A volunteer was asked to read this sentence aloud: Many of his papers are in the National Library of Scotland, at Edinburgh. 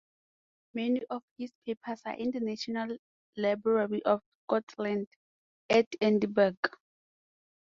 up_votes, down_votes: 0, 4